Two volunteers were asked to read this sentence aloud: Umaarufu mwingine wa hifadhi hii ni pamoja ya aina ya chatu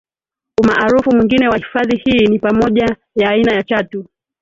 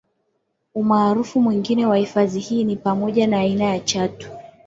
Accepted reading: second